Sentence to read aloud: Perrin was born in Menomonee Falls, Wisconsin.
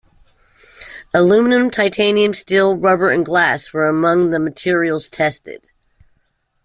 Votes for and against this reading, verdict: 0, 2, rejected